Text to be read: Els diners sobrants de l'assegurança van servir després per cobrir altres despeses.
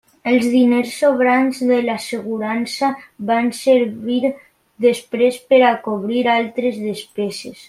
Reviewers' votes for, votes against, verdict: 2, 0, accepted